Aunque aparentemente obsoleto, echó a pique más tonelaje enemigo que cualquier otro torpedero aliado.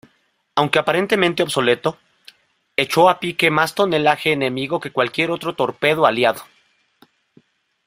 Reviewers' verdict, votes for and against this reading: accepted, 2, 1